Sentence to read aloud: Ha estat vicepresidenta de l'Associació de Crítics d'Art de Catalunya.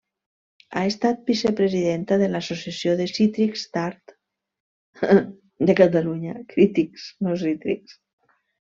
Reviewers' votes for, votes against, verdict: 0, 2, rejected